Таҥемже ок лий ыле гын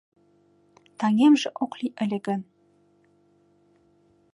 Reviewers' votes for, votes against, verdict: 2, 0, accepted